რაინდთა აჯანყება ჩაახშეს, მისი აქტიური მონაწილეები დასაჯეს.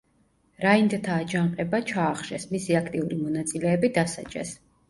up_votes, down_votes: 2, 0